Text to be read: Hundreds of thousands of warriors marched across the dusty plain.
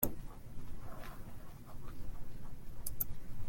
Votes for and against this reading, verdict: 0, 2, rejected